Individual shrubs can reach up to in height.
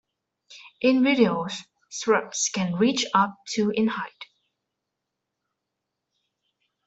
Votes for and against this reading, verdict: 1, 2, rejected